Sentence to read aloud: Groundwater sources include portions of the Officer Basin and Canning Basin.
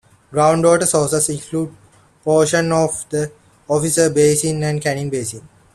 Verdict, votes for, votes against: accepted, 2, 1